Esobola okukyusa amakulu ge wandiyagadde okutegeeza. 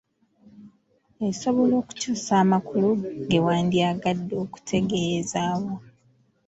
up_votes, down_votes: 0, 2